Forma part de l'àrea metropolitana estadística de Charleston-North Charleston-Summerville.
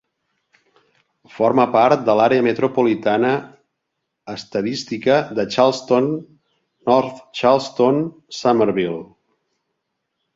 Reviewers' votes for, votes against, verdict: 2, 0, accepted